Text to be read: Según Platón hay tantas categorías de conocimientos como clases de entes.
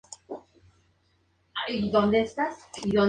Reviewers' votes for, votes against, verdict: 0, 4, rejected